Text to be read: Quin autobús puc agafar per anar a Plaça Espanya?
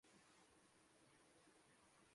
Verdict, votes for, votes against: rejected, 0, 2